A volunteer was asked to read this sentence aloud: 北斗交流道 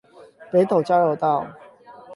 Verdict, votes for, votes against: accepted, 8, 0